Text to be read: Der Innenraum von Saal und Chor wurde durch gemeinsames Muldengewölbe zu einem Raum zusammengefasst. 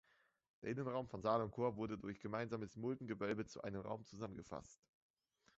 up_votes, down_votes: 1, 2